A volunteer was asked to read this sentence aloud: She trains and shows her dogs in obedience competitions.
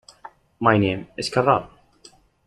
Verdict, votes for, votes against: rejected, 0, 2